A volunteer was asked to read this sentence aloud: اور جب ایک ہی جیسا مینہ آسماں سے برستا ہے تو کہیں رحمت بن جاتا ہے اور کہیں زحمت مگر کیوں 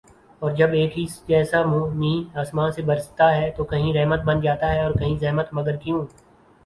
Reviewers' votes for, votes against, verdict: 0, 2, rejected